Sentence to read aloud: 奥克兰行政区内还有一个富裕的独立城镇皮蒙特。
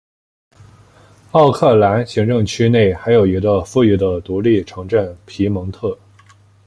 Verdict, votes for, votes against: accepted, 2, 0